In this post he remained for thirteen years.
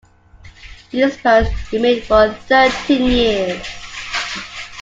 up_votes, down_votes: 2, 1